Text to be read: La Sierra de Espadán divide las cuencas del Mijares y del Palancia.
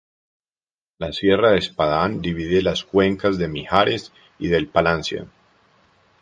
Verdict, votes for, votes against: accepted, 4, 0